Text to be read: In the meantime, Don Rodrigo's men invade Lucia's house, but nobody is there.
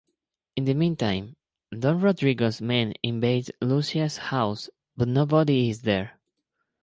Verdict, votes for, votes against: accepted, 4, 0